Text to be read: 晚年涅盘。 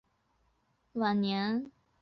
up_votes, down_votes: 0, 4